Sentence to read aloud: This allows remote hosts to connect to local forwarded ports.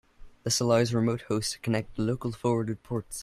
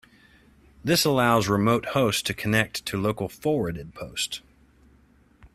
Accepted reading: first